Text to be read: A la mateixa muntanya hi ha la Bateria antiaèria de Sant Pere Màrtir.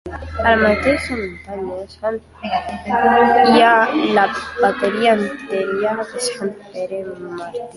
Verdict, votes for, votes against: accepted, 2, 1